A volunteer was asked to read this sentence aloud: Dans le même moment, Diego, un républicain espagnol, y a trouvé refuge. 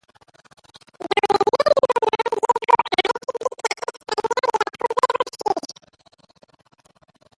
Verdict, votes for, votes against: rejected, 0, 2